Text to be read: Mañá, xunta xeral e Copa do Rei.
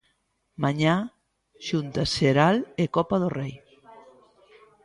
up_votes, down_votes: 1, 2